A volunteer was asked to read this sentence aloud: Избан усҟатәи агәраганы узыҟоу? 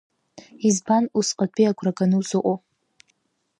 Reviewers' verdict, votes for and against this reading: accepted, 2, 0